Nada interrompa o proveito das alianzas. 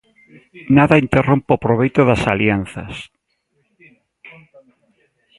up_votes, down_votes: 2, 0